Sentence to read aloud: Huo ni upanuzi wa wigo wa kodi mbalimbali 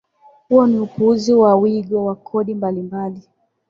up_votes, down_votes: 7, 4